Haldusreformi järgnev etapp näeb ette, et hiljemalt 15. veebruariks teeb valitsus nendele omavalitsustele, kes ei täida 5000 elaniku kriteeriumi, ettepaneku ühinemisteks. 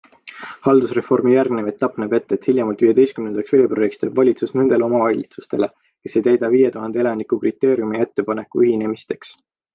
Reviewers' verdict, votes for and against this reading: rejected, 0, 2